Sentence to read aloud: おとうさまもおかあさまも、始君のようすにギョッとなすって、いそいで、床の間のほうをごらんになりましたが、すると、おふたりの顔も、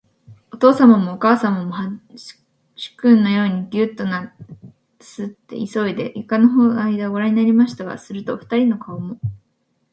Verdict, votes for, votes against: rejected, 0, 2